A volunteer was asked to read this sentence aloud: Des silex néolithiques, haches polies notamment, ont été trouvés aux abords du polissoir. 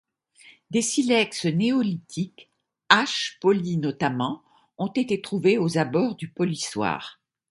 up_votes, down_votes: 2, 0